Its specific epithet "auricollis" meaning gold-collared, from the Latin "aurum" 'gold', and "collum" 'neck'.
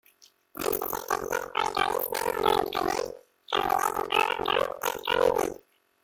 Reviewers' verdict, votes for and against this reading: rejected, 0, 2